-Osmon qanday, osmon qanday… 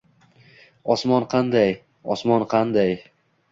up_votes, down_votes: 2, 0